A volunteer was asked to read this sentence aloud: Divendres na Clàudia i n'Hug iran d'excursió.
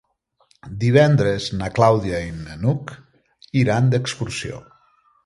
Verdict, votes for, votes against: rejected, 1, 2